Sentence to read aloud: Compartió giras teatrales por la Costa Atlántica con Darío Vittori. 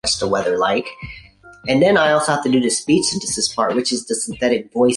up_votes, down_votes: 0, 2